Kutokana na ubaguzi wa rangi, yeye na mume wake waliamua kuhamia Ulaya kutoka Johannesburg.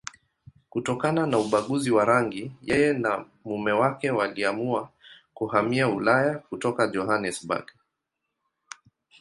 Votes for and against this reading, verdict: 2, 0, accepted